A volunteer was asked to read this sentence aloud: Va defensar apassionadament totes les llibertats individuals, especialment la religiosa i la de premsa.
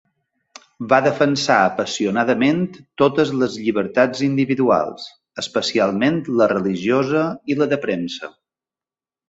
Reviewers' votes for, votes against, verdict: 5, 0, accepted